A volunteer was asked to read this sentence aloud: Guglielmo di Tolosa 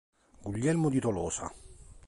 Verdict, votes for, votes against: accepted, 2, 0